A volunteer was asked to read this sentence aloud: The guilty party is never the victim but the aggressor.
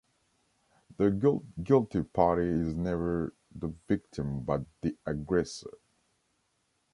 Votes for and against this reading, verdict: 1, 2, rejected